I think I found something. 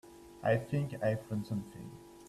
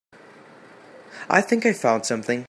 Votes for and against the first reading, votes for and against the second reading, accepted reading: 0, 2, 2, 0, second